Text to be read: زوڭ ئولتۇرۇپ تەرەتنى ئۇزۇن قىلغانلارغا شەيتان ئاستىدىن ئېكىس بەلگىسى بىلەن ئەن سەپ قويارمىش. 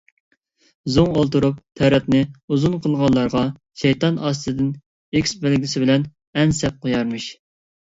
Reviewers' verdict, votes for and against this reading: accepted, 2, 0